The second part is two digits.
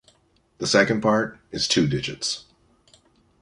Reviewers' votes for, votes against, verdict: 2, 1, accepted